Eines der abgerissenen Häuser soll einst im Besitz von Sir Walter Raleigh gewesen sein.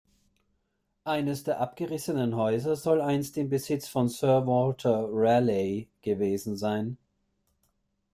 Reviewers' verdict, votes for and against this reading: rejected, 1, 2